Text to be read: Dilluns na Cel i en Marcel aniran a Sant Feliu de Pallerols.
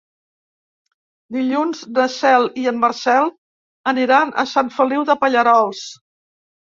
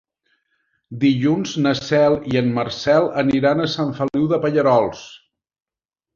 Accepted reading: second